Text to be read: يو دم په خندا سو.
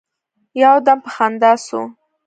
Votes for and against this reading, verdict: 2, 0, accepted